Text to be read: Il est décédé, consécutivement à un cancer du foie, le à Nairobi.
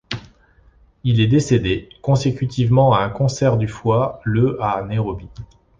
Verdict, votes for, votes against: accepted, 2, 1